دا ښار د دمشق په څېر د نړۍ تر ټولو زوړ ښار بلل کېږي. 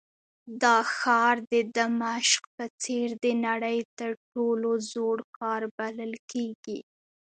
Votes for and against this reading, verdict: 2, 0, accepted